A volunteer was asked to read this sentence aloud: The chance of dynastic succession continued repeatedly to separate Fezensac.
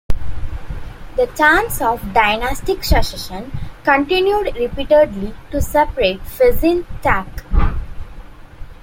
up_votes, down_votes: 0, 2